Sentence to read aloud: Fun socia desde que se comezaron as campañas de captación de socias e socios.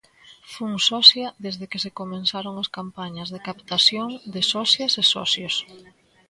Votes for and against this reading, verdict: 1, 3, rejected